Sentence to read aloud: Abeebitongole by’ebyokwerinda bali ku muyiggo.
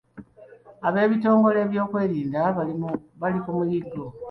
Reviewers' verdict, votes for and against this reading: accepted, 2, 0